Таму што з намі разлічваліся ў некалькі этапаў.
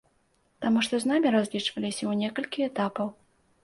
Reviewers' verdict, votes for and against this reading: accepted, 2, 0